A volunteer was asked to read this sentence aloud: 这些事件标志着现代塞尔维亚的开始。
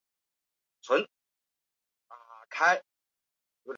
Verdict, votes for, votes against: rejected, 1, 3